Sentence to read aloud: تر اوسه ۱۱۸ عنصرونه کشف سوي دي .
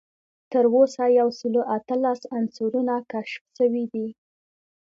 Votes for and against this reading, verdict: 0, 2, rejected